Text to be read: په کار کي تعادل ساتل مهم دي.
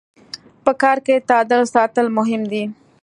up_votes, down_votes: 2, 0